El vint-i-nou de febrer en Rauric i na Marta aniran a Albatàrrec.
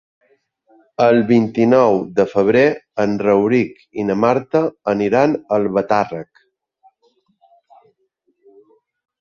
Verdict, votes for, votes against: accepted, 2, 0